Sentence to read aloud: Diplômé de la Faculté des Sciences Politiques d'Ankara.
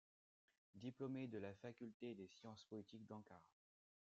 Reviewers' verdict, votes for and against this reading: accepted, 2, 1